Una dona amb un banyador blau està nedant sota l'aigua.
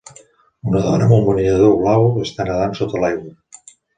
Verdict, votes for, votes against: accepted, 2, 1